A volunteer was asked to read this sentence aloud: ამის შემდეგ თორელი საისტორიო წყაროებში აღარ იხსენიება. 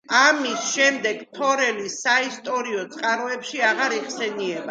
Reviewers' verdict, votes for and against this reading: accepted, 2, 0